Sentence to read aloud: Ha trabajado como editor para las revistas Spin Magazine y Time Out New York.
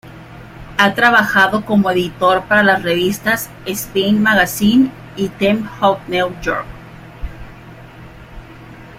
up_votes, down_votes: 0, 2